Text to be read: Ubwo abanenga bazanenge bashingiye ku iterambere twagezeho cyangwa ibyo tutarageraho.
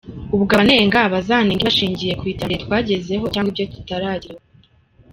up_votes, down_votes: 1, 2